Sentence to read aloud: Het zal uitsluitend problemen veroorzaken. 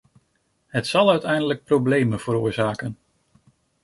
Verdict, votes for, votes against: rejected, 0, 2